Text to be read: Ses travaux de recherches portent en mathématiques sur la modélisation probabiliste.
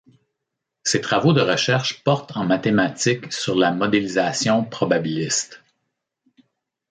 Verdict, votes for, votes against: accepted, 2, 0